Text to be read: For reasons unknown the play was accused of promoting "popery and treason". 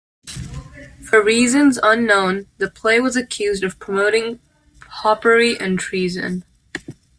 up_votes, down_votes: 0, 2